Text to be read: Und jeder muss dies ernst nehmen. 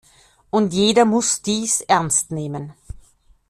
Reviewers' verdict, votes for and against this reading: accepted, 2, 0